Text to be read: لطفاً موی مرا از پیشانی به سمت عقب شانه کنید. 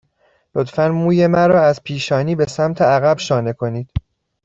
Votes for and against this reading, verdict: 2, 0, accepted